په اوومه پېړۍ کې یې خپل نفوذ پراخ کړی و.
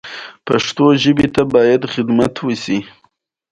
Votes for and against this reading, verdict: 1, 2, rejected